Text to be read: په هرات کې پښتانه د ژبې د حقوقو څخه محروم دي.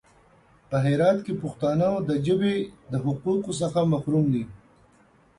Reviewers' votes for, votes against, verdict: 2, 0, accepted